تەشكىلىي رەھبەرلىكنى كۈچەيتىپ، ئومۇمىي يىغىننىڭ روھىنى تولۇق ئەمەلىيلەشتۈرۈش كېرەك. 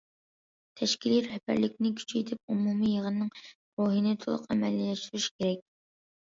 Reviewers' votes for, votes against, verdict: 1, 2, rejected